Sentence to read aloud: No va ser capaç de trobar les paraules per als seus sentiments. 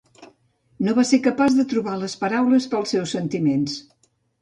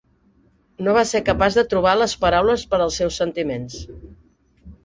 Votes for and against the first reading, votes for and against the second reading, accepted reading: 1, 2, 3, 0, second